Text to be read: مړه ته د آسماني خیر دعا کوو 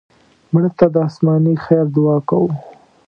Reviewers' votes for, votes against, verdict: 2, 0, accepted